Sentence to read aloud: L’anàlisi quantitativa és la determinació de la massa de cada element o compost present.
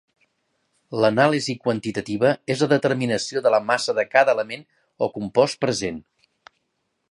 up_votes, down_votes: 5, 0